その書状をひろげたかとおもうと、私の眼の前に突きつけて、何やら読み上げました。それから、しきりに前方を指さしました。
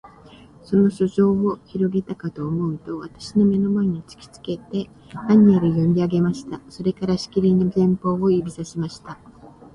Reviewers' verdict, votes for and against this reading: rejected, 2, 2